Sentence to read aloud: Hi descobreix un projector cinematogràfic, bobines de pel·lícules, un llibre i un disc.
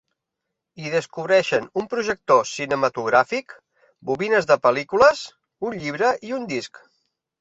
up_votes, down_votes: 1, 2